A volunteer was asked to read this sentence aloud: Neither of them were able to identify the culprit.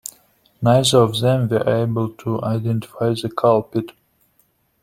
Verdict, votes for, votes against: rejected, 1, 2